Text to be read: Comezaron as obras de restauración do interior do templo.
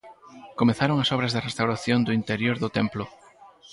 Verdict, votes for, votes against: rejected, 2, 4